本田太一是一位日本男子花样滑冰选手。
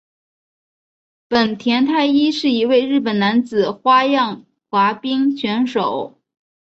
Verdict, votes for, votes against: accepted, 2, 1